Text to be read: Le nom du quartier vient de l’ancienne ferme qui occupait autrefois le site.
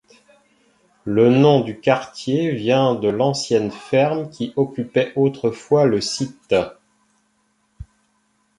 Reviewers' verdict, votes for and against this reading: accepted, 2, 0